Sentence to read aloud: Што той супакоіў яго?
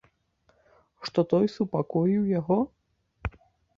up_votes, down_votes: 2, 0